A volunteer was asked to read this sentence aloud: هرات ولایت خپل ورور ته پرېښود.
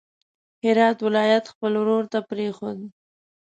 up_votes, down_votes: 2, 0